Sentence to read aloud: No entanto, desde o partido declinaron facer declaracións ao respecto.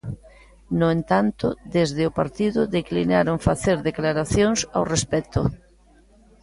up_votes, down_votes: 2, 0